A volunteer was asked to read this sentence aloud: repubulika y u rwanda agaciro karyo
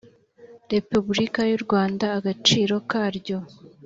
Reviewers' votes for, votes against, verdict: 3, 0, accepted